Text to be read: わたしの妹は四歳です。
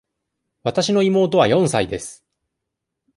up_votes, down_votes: 2, 0